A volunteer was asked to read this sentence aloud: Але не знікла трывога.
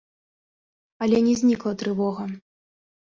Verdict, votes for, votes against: accepted, 2, 0